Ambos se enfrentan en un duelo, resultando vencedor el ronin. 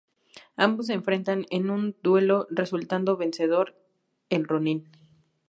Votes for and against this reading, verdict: 4, 0, accepted